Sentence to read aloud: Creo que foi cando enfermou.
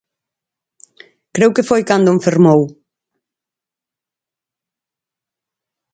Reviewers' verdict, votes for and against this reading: accepted, 4, 0